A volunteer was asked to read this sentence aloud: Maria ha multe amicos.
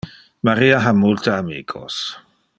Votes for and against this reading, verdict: 2, 0, accepted